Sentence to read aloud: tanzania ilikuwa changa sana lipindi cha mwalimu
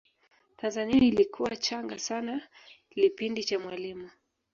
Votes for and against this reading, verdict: 2, 0, accepted